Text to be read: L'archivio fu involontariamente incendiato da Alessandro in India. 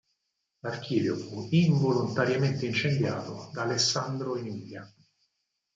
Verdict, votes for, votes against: rejected, 0, 4